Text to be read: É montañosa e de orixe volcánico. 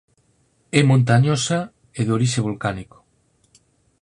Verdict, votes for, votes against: accepted, 4, 0